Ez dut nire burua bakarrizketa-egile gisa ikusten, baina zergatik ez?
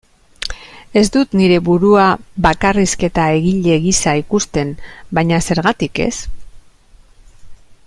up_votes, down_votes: 2, 0